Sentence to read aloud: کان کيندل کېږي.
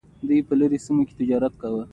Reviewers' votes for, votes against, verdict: 2, 0, accepted